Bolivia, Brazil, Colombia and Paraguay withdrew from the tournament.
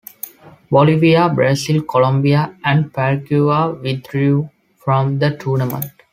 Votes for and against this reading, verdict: 2, 1, accepted